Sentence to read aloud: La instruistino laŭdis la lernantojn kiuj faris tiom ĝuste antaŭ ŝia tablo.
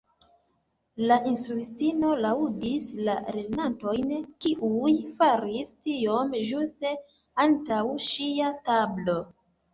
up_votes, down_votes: 2, 0